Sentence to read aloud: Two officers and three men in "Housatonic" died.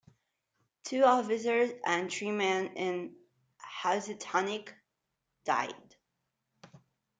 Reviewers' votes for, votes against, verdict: 0, 2, rejected